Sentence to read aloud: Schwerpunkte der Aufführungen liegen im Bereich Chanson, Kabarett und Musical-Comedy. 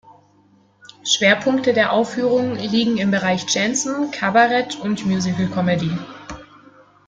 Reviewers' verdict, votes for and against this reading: rejected, 0, 2